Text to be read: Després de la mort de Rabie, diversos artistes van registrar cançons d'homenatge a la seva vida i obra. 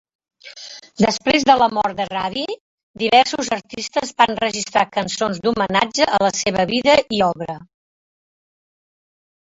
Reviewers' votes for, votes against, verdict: 1, 2, rejected